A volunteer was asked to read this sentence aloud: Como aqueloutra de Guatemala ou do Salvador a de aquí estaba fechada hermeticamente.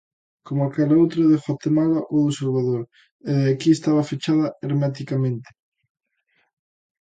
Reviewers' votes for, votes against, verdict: 0, 2, rejected